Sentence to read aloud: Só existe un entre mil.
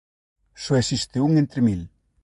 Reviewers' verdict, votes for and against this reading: accepted, 2, 0